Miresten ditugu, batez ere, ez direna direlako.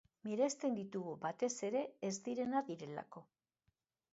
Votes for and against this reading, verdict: 2, 0, accepted